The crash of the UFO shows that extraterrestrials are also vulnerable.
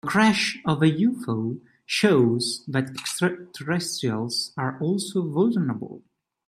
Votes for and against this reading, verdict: 0, 2, rejected